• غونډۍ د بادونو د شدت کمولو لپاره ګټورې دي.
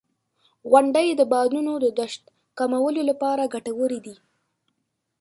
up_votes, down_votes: 3, 4